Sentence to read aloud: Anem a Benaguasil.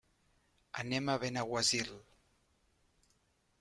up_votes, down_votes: 3, 0